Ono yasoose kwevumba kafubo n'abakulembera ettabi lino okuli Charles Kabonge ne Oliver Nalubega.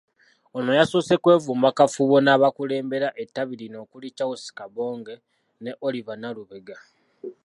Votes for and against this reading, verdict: 2, 1, accepted